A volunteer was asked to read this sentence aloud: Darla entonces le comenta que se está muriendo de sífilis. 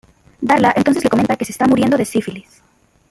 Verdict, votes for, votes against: rejected, 0, 2